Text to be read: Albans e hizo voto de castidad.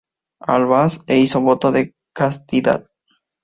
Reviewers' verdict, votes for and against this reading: rejected, 0, 2